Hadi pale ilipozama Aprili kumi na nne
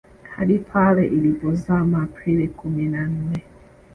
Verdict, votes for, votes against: accepted, 2, 0